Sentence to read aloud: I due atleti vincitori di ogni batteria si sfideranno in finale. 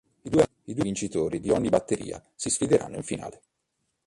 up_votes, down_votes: 2, 3